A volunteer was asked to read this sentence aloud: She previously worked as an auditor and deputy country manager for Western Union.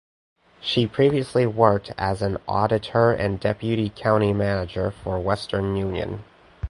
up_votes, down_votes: 2, 4